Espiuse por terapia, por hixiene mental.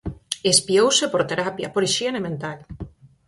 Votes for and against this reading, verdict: 2, 4, rejected